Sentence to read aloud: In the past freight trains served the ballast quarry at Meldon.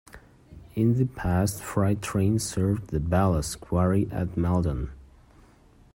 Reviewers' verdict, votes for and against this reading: accepted, 2, 1